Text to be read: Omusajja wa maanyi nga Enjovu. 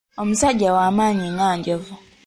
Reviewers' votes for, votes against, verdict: 2, 0, accepted